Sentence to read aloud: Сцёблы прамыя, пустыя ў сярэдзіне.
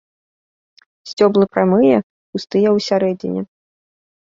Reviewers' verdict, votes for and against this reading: accepted, 2, 0